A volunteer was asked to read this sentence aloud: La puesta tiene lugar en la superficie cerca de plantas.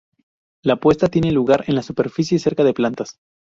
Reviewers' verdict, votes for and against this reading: rejected, 2, 2